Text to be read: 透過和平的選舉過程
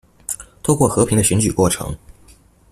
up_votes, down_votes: 2, 0